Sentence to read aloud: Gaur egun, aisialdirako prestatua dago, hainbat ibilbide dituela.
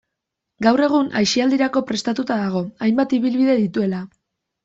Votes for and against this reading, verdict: 2, 0, accepted